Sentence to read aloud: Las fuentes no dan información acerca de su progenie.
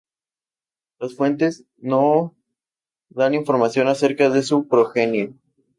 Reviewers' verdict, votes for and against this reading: rejected, 0, 2